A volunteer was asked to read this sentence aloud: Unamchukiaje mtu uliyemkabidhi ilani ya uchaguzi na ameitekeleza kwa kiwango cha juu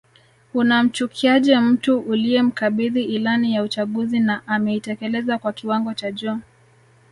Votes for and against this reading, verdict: 1, 2, rejected